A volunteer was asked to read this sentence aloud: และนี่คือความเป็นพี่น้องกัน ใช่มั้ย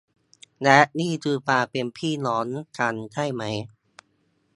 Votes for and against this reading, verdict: 1, 2, rejected